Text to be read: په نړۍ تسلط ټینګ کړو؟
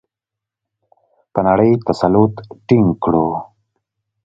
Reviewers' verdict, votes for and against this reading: accepted, 2, 1